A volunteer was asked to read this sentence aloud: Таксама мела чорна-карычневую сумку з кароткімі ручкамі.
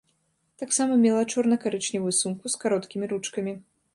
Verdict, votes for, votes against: accepted, 2, 0